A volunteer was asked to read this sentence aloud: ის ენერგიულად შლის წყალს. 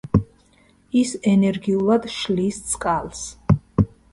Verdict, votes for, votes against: accepted, 2, 0